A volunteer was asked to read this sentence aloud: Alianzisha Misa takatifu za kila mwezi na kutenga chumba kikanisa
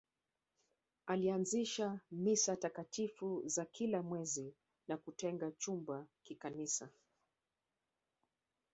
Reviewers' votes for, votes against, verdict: 2, 3, rejected